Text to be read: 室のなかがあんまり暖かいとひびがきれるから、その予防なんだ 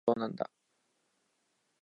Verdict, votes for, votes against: rejected, 0, 2